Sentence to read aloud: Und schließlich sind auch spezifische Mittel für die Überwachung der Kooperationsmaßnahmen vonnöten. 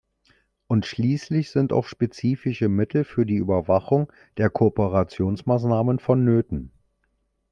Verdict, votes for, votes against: accepted, 2, 1